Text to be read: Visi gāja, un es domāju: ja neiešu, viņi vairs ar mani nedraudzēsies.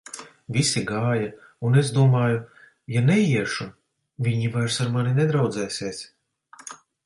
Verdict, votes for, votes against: accepted, 2, 1